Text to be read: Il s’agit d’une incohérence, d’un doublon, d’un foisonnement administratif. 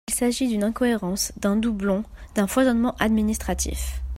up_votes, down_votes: 2, 0